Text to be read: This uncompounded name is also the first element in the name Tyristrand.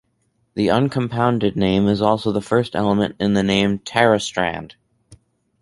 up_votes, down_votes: 2, 2